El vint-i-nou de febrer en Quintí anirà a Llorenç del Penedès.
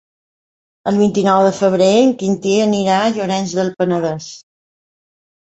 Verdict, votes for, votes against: accepted, 3, 0